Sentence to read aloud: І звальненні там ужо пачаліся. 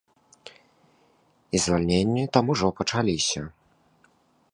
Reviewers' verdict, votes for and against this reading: accepted, 2, 0